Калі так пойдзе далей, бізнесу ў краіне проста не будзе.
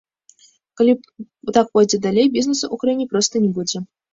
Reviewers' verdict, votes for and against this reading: rejected, 1, 2